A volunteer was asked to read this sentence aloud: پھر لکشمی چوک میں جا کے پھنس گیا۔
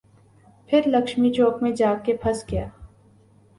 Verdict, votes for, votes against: accepted, 3, 0